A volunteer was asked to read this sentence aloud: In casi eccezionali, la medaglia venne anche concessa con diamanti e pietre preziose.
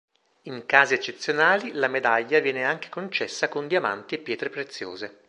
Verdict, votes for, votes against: rejected, 1, 2